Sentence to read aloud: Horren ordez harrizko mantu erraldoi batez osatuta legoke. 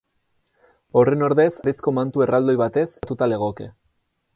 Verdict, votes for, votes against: rejected, 0, 4